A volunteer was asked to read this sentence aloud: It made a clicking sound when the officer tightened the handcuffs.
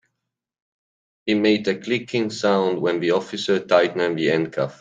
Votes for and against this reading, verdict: 2, 1, accepted